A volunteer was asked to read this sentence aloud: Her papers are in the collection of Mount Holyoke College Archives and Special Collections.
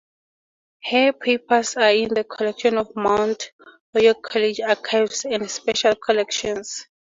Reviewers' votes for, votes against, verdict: 4, 0, accepted